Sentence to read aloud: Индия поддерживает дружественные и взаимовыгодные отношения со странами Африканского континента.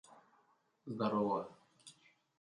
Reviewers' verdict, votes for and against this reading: rejected, 0, 2